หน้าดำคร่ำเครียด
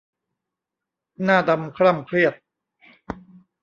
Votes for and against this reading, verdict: 0, 2, rejected